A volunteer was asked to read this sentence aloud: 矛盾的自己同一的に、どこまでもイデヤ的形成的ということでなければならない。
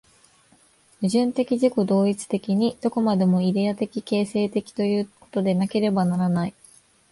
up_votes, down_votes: 2, 1